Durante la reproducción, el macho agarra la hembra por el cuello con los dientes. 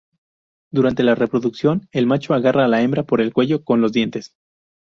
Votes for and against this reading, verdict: 0, 2, rejected